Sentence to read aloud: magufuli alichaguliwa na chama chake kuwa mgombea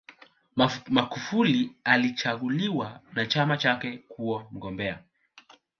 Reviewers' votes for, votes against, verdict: 0, 2, rejected